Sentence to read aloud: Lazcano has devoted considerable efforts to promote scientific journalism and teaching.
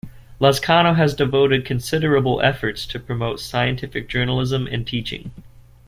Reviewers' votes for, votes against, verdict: 2, 0, accepted